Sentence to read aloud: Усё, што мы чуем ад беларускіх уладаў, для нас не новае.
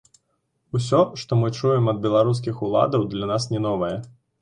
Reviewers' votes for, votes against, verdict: 2, 1, accepted